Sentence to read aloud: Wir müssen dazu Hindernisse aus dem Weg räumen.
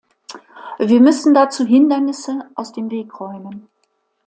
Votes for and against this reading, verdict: 2, 0, accepted